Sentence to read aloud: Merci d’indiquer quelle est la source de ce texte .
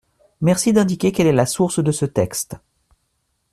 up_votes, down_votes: 2, 0